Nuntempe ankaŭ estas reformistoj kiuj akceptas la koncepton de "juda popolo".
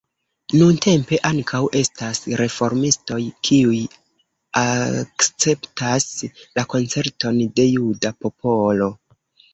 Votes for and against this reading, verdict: 1, 2, rejected